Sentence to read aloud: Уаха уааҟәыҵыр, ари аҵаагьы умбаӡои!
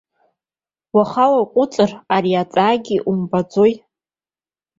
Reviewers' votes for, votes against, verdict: 2, 0, accepted